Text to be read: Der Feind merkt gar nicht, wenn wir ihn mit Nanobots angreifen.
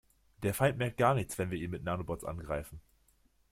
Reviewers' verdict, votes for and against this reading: rejected, 0, 2